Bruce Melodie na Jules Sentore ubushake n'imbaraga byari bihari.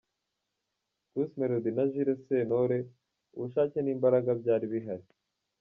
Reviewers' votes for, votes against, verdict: 2, 0, accepted